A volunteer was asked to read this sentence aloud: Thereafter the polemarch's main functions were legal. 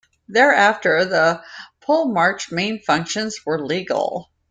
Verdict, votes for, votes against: accepted, 2, 1